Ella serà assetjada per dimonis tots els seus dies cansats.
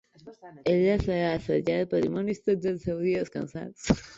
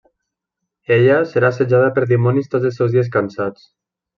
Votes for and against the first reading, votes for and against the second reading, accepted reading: 1, 3, 2, 1, second